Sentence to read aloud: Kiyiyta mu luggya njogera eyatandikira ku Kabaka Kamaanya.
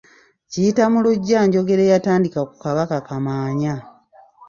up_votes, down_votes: 1, 2